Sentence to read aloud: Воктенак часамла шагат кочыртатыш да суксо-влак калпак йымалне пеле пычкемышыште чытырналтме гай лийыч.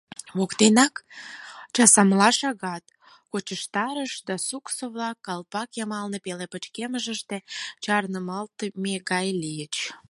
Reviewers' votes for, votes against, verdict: 2, 4, rejected